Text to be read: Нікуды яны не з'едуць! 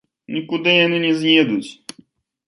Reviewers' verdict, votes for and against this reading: rejected, 1, 2